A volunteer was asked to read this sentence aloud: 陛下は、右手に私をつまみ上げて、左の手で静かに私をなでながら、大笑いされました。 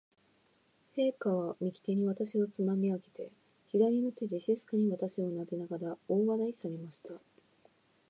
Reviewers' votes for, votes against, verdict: 2, 1, accepted